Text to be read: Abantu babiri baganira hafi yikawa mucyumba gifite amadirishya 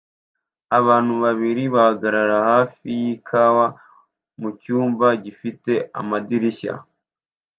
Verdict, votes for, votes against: rejected, 0, 2